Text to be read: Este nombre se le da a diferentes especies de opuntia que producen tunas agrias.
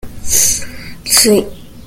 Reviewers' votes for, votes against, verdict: 0, 2, rejected